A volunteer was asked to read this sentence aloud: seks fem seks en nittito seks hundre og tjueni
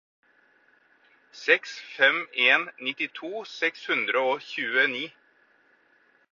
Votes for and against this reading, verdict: 0, 4, rejected